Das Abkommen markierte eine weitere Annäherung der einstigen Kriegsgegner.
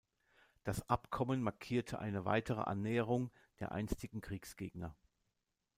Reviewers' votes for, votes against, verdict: 2, 0, accepted